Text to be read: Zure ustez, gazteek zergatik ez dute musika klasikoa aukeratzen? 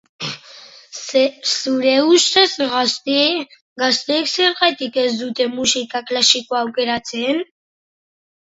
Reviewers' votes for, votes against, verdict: 1, 3, rejected